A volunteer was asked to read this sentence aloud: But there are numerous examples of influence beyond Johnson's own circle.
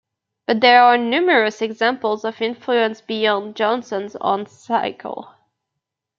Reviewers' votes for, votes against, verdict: 1, 2, rejected